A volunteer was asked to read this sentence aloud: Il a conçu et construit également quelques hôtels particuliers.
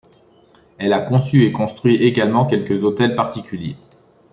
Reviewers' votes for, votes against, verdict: 1, 2, rejected